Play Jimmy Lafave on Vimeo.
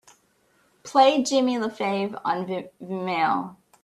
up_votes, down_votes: 0, 2